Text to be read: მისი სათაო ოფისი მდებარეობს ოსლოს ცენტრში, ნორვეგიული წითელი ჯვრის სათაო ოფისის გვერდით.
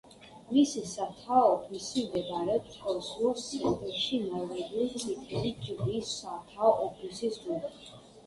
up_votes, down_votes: 2, 1